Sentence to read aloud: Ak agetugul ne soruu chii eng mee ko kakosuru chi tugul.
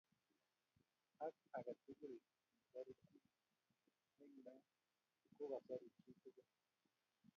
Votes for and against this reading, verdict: 1, 2, rejected